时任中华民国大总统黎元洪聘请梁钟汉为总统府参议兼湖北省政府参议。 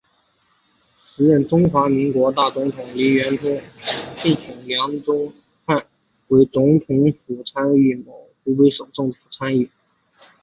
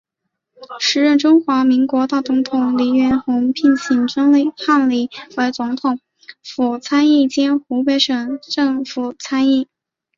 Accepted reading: second